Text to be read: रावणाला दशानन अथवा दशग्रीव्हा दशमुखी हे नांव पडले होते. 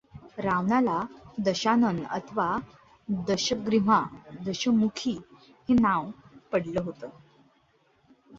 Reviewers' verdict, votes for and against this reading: accepted, 2, 0